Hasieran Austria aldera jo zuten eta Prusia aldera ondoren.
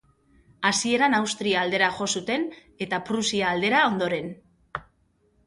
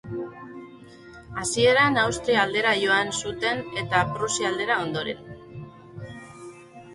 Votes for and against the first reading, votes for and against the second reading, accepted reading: 2, 0, 0, 2, first